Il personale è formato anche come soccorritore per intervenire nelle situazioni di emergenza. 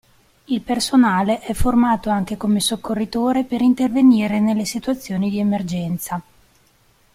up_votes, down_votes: 2, 0